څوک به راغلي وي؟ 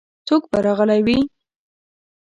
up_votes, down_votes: 1, 2